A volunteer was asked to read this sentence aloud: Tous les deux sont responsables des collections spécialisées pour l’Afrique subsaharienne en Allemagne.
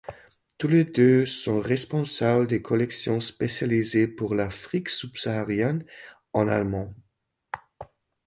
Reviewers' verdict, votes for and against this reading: rejected, 0, 2